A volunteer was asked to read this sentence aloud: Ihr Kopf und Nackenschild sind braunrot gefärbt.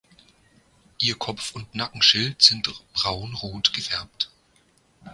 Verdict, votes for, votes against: rejected, 1, 2